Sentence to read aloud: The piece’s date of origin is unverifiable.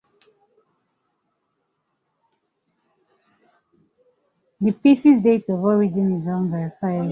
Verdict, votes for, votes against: accepted, 2, 0